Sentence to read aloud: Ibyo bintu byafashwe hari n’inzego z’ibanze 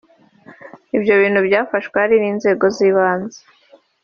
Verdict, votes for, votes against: accepted, 3, 1